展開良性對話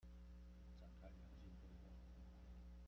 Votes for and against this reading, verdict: 1, 2, rejected